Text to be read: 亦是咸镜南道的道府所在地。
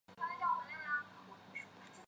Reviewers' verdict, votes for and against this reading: rejected, 1, 3